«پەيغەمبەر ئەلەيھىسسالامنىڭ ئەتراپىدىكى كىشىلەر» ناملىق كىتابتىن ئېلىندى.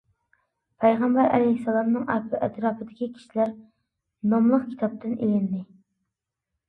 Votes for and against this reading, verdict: 0, 2, rejected